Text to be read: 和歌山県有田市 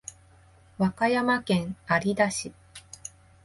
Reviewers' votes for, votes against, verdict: 0, 2, rejected